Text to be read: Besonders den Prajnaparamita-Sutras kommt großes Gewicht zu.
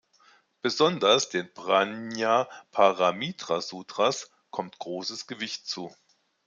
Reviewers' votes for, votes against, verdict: 2, 1, accepted